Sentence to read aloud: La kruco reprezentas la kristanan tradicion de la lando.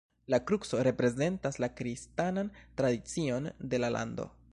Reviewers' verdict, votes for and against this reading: rejected, 1, 2